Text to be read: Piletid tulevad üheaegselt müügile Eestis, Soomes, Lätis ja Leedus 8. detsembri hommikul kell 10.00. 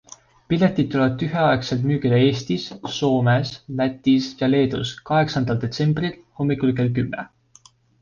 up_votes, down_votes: 0, 2